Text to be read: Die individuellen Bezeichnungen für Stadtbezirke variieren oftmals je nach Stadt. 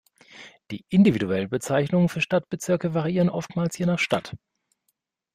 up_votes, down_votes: 2, 0